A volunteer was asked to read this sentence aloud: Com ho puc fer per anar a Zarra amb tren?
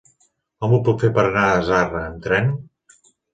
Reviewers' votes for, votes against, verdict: 2, 1, accepted